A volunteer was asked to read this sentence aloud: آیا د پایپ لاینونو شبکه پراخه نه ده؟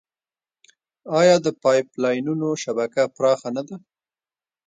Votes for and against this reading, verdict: 2, 0, accepted